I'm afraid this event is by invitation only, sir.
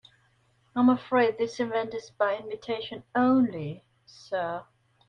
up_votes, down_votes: 2, 0